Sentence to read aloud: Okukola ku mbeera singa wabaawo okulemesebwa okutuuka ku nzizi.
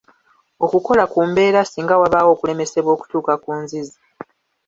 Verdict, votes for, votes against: accepted, 2, 0